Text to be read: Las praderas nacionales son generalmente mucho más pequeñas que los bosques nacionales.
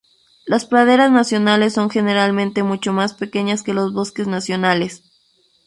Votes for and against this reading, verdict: 0, 2, rejected